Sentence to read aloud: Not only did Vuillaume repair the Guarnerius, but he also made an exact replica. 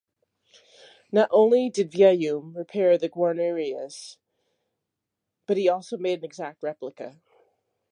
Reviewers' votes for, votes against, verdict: 2, 0, accepted